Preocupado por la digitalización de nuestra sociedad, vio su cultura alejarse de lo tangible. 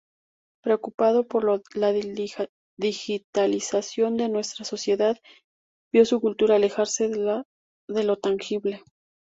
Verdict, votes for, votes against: rejected, 0, 2